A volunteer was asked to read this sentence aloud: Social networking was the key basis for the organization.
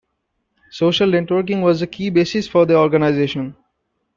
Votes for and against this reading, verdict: 2, 0, accepted